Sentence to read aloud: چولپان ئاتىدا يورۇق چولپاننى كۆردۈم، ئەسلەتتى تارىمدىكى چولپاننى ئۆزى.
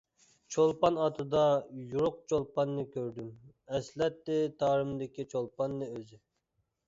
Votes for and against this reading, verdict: 2, 0, accepted